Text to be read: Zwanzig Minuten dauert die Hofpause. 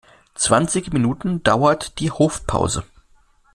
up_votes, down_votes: 2, 0